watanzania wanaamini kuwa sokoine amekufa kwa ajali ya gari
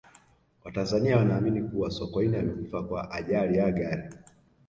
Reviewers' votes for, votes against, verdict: 2, 1, accepted